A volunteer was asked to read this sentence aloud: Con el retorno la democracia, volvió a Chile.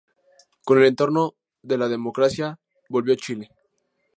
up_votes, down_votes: 0, 4